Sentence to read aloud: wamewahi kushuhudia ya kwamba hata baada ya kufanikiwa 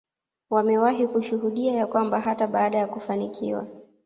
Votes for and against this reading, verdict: 2, 0, accepted